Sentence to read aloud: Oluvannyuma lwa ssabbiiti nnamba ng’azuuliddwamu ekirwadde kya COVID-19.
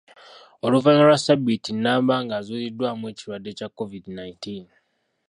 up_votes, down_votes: 0, 2